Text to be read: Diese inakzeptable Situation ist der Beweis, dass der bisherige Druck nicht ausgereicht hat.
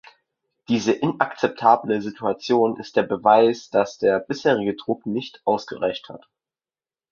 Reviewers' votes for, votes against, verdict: 2, 0, accepted